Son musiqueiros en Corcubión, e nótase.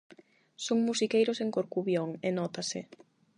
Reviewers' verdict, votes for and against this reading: accepted, 8, 0